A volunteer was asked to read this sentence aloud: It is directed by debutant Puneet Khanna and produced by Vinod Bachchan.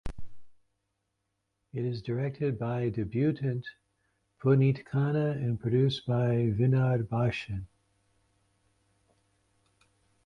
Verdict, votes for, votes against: rejected, 0, 2